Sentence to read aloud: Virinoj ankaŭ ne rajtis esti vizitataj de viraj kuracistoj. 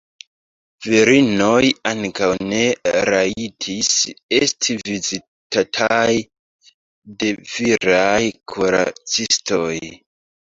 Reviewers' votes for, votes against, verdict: 0, 2, rejected